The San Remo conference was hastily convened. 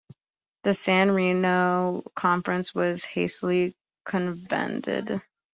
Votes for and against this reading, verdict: 1, 3, rejected